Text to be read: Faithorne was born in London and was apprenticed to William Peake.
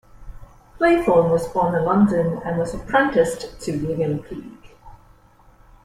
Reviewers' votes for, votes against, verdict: 2, 0, accepted